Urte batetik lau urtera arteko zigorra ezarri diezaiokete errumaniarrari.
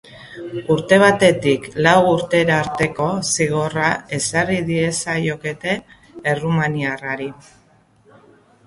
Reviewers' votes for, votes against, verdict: 3, 0, accepted